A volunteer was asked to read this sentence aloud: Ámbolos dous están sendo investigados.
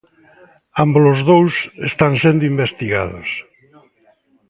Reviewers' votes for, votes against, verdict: 2, 1, accepted